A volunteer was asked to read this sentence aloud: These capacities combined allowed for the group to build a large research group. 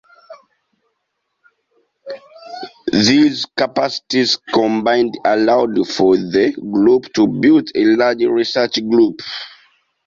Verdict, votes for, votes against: accepted, 2, 0